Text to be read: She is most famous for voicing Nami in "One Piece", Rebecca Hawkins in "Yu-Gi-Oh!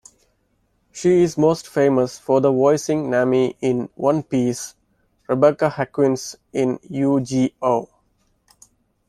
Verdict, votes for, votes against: rejected, 0, 2